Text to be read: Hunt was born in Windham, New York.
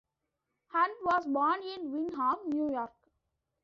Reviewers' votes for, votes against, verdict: 2, 0, accepted